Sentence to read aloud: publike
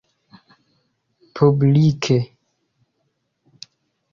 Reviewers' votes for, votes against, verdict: 2, 0, accepted